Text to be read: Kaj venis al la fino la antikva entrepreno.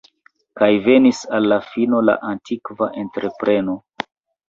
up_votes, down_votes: 3, 0